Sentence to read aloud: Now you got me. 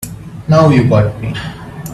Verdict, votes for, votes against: accepted, 2, 1